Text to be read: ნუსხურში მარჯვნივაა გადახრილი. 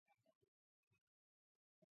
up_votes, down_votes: 1, 2